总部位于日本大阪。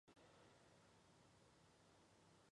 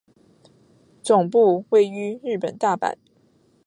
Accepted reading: second